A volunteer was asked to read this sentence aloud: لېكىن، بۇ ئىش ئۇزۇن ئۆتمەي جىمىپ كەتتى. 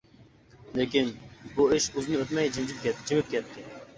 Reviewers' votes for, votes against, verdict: 0, 2, rejected